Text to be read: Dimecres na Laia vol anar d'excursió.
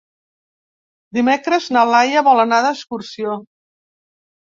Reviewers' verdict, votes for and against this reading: accepted, 3, 0